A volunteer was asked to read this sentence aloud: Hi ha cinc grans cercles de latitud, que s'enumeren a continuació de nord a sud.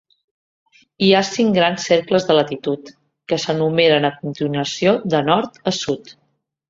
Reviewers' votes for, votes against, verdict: 3, 1, accepted